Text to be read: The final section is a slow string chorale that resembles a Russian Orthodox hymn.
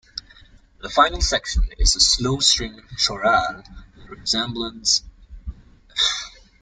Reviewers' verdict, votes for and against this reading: accepted, 2, 1